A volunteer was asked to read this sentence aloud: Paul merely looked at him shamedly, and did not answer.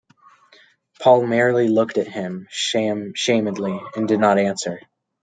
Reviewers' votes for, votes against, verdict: 1, 2, rejected